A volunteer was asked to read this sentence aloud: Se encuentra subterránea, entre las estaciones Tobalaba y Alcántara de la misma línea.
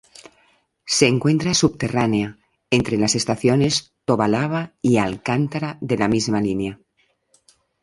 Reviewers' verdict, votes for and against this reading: accepted, 2, 0